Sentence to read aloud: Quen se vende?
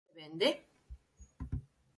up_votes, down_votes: 0, 4